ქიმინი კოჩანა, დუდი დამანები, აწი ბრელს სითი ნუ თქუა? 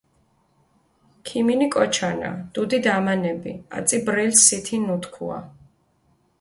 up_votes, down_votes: 2, 0